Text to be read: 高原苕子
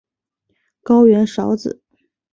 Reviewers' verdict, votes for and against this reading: accepted, 5, 0